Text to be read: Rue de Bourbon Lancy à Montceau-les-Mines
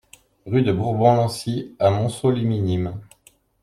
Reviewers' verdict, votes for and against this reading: rejected, 0, 2